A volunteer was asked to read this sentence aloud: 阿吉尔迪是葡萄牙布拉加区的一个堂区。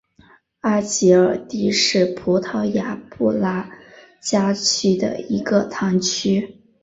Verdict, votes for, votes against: accepted, 2, 1